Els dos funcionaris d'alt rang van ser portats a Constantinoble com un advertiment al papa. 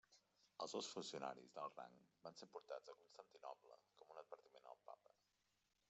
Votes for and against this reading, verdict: 1, 2, rejected